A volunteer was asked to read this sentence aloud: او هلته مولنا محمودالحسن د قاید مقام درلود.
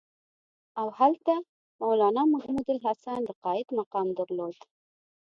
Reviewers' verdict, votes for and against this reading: accepted, 2, 0